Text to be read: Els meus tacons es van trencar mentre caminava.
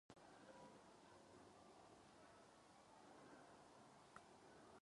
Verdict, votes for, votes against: rejected, 0, 2